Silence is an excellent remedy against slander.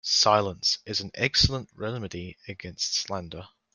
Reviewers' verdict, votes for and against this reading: accepted, 2, 1